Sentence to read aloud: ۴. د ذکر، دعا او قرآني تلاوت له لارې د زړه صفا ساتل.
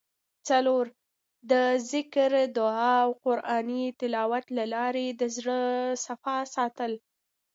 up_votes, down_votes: 0, 2